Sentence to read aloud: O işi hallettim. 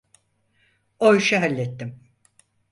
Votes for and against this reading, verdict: 4, 0, accepted